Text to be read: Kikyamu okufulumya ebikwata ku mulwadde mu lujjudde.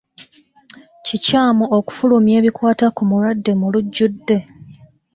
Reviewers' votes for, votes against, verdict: 0, 2, rejected